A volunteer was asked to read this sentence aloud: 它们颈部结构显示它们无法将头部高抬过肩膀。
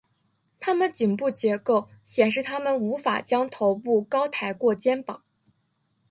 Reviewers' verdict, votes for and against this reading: rejected, 1, 2